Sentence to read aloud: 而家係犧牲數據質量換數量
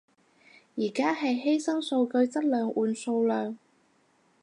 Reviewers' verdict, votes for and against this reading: accepted, 4, 0